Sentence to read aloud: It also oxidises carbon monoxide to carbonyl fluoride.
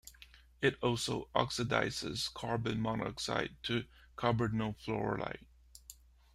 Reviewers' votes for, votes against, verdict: 2, 1, accepted